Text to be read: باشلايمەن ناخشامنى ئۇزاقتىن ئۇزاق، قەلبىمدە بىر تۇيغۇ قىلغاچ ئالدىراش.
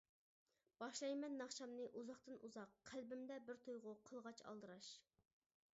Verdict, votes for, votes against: rejected, 0, 2